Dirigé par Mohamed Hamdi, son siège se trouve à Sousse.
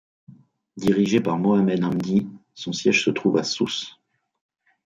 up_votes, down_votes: 2, 0